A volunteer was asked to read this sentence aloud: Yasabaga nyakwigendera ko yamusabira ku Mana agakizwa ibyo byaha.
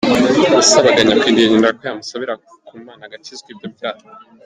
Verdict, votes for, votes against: rejected, 0, 2